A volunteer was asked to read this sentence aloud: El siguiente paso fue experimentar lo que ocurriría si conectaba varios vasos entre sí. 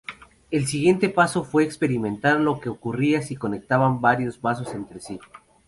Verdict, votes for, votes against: rejected, 0, 2